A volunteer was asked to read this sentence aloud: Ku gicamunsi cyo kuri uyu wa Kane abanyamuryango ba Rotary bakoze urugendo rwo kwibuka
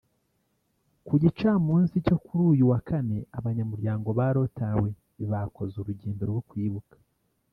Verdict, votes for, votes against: accepted, 3, 0